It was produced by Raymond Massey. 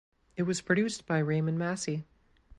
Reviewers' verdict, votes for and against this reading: accepted, 2, 0